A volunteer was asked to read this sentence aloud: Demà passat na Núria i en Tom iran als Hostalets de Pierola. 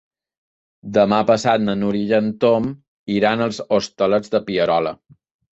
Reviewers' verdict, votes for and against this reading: accepted, 3, 0